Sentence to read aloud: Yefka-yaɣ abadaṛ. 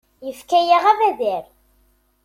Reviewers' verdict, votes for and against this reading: rejected, 1, 2